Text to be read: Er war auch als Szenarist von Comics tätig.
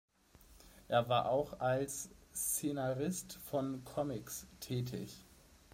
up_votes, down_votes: 2, 0